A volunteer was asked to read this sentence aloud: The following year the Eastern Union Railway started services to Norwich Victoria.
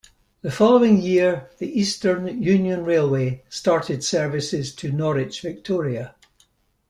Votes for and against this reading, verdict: 2, 0, accepted